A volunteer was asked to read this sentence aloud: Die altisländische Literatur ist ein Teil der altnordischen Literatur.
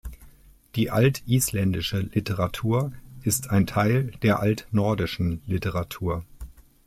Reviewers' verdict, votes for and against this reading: accepted, 2, 0